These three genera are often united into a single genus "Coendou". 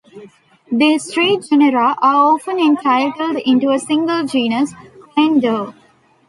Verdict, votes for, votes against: rejected, 0, 2